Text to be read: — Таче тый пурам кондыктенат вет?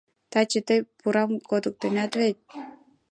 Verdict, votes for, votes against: rejected, 1, 2